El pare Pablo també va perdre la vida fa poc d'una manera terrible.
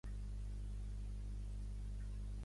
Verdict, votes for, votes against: rejected, 1, 2